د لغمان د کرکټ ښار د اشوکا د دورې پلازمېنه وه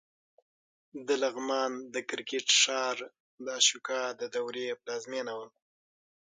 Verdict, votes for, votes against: accepted, 6, 3